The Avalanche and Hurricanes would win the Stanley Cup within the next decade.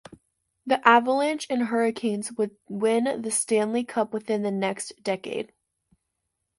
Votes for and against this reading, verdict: 2, 0, accepted